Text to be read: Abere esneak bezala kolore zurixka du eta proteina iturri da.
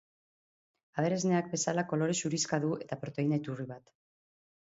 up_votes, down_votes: 2, 0